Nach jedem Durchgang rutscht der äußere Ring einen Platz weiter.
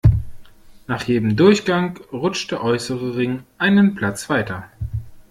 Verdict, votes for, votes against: accepted, 2, 0